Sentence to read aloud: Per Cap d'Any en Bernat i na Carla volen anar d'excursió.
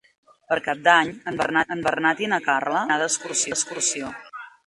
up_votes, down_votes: 0, 2